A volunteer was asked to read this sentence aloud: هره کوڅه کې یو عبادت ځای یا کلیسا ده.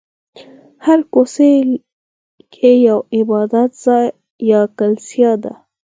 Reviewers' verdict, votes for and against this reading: rejected, 0, 4